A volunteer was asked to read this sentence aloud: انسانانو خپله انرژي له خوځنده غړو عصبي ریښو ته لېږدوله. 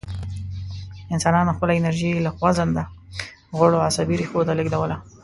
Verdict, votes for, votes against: rejected, 1, 2